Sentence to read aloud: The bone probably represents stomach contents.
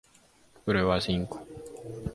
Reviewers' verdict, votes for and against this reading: rejected, 0, 2